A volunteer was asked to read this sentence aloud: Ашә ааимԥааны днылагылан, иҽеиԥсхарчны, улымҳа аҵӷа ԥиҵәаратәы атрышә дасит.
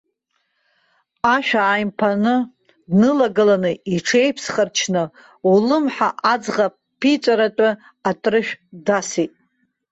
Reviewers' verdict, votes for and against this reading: rejected, 0, 2